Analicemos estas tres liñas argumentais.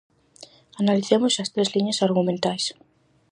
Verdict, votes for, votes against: rejected, 2, 2